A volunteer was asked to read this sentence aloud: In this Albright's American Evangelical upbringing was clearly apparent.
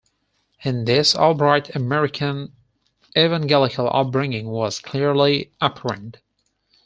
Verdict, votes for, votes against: rejected, 2, 4